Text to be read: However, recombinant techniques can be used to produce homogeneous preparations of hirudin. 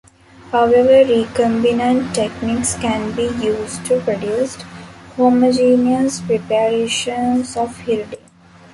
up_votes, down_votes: 0, 2